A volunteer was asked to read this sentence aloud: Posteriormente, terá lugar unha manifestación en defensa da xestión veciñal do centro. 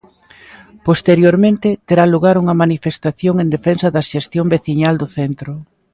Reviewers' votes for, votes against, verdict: 2, 0, accepted